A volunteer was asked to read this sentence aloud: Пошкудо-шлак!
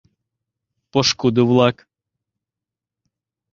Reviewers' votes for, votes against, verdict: 0, 2, rejected